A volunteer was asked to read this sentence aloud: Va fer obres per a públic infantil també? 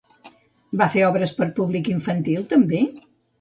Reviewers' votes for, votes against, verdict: 1, 2, rejected